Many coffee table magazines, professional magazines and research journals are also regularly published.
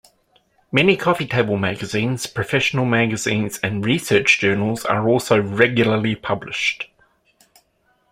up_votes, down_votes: 2, 0